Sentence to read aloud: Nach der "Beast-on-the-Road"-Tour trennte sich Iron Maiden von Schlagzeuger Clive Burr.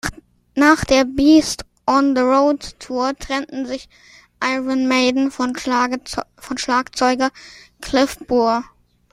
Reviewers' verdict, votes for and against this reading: rejected, 0, 2